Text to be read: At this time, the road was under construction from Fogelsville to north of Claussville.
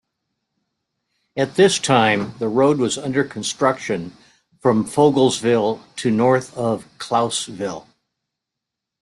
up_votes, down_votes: 2, 0